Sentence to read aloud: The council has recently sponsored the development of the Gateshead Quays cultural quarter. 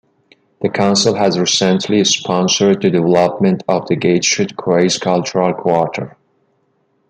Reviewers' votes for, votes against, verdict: 0, 2, rejected